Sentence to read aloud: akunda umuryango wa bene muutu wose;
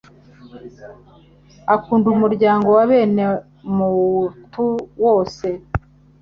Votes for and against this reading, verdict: 3, 0, accepted